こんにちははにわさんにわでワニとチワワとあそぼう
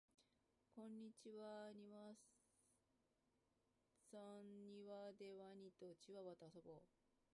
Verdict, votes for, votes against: rejected, 0, 2